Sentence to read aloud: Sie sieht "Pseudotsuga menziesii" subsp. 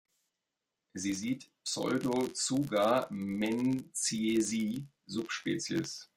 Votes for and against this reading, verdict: 1, 2, rejected